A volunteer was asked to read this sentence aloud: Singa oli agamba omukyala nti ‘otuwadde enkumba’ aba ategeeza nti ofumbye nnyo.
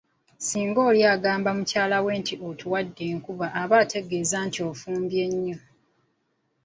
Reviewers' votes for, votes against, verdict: 2, 1, accepted